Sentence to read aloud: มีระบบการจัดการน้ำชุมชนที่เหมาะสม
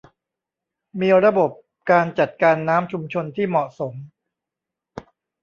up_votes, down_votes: 1, 2